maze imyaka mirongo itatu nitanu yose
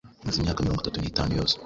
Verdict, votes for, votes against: accepted, 2, 1